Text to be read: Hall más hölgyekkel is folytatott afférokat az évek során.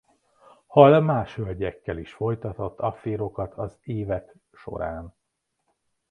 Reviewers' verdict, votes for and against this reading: rejected, 0, 2